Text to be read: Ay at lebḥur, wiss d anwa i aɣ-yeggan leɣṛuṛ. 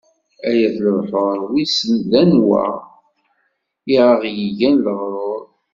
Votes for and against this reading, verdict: 1, 2, rejected